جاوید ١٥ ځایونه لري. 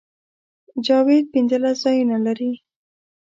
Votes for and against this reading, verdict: 0, 2, rejected